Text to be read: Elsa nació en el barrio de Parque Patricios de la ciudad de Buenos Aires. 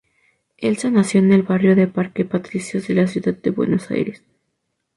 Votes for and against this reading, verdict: 4, 0, accepted